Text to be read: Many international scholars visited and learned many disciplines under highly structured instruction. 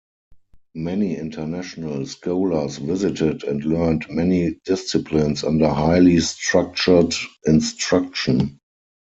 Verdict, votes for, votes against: rejected, 2, 4